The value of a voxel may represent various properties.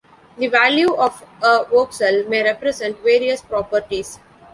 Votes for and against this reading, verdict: 1, 2, rejected